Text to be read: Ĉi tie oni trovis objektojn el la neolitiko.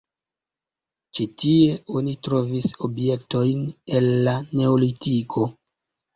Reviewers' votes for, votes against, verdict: 2, 1, accepted